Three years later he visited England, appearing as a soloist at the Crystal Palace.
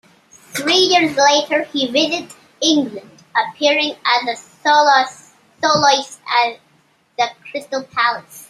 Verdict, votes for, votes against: rejected, 0, 2